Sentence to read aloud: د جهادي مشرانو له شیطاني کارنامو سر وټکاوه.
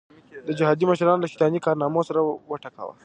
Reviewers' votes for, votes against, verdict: 2, 0, accepted